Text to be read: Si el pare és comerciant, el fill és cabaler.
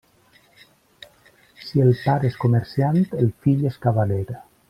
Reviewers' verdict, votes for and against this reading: rejected, 1, 2